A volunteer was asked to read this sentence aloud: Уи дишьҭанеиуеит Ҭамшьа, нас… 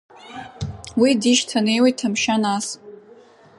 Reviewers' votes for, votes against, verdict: 2, 0, accepted